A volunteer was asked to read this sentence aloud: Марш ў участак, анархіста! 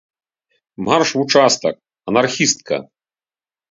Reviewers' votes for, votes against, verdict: 0, 3, rejected